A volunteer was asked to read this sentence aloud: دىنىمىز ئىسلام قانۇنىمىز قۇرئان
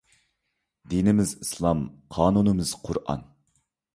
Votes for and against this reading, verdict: 2, 0, accepted